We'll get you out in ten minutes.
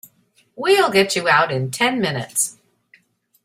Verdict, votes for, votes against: accepted, 2, 0